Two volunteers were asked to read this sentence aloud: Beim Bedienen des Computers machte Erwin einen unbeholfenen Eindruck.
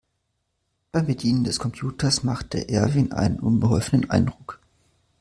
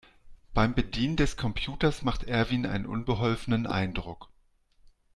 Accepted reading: first